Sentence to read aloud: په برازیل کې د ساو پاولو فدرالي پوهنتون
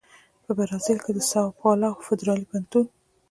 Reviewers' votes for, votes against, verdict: 1, 2, rejected